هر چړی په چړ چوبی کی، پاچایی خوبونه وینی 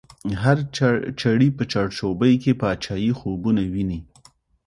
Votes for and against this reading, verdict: 2, 0, accepted